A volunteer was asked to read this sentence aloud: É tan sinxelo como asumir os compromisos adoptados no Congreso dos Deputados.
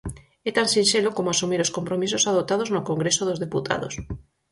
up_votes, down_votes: 4, 0